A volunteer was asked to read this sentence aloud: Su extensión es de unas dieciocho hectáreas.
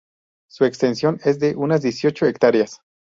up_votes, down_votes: 2, 0